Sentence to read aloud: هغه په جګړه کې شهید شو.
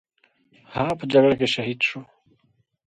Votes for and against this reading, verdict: 2, 1, accepted